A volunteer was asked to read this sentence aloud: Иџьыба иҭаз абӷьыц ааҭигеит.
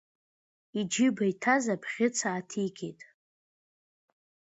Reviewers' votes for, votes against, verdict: 2, 0, accepted